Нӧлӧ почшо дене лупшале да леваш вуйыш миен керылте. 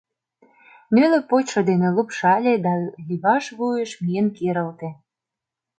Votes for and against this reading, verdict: 1, 2, rejected